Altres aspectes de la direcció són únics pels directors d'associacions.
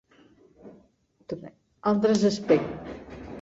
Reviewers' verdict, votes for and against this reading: rejected, 0, 2